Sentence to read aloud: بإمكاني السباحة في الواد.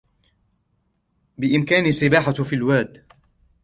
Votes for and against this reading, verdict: 3, 0, accepted